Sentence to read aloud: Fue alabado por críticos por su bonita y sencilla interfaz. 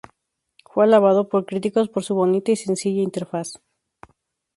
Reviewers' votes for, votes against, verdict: 2, 0, accepted